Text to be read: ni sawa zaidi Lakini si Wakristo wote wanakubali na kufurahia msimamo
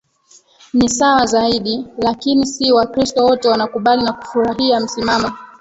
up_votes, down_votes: 0, 2